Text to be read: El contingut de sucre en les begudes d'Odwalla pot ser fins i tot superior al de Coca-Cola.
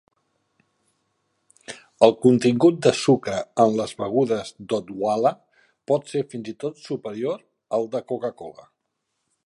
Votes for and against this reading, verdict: 4, 1, accepted